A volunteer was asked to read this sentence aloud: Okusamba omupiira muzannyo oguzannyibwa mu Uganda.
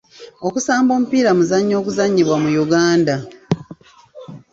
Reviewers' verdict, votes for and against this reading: rejected, 1, 2